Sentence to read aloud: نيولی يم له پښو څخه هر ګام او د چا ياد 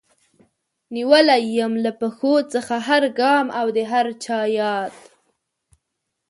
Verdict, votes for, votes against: rejected, 3, 4